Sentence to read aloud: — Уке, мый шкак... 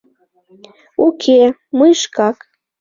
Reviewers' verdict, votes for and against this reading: accepted, 2, 0